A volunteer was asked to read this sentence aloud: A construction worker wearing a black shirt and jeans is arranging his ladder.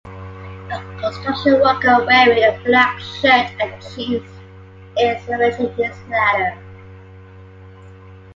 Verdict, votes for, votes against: rejected, 1, 2